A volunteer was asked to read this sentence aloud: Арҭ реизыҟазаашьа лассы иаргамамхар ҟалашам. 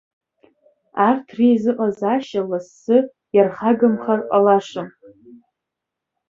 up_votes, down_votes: 1, 3